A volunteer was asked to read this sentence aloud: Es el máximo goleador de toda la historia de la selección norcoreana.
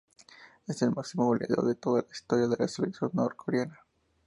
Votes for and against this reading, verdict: 2, 0, accepted